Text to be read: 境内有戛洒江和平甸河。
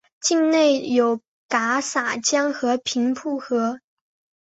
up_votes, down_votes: 3, 1